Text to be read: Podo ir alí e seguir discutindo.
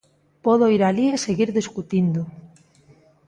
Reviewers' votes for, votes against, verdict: 2, 0, accepted